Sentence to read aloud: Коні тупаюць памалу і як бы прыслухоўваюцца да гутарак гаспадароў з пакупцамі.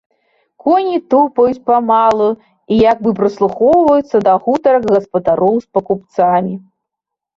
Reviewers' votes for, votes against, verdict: 2, 0, accepted